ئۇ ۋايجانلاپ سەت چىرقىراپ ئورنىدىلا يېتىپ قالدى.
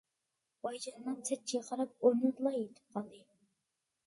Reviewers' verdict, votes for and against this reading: rejected, 0, 2